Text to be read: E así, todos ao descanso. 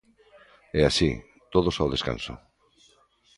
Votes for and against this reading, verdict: 2, 0, accepted